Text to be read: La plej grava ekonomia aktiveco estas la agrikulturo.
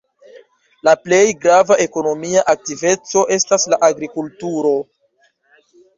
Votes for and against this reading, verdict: 2, 0, accepted